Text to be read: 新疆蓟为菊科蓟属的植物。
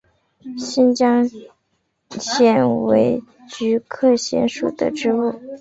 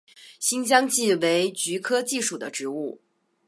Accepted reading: second